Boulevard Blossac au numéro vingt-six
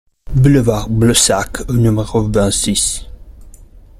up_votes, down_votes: 1, 2